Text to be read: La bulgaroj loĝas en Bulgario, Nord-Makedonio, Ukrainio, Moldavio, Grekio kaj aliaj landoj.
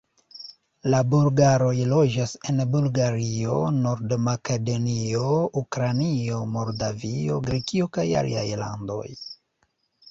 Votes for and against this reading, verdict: 0, 2, rejected